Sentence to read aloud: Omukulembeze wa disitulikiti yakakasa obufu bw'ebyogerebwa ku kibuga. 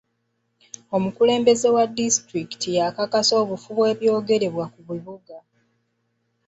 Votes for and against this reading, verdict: 0, 2, rejected